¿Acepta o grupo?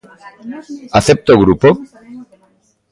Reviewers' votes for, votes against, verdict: 2, 0, accepted